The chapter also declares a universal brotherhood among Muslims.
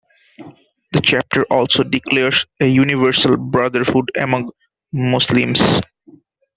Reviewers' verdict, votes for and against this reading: accepted, 2, 1